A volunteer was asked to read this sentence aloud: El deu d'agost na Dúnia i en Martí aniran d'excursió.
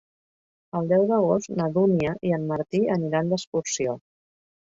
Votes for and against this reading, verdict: 2, 0, accepted